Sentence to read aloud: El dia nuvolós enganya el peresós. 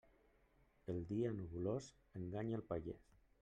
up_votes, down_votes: 0, 2